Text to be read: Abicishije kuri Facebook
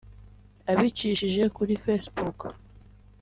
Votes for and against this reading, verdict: 2, 0, accepted